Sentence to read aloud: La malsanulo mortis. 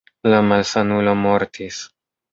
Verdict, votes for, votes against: accepted, 2, 0